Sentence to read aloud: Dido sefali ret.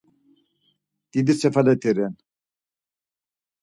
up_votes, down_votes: 2, 4